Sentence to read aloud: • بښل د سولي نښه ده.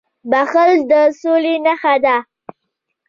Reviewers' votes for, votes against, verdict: 1, 2, rejected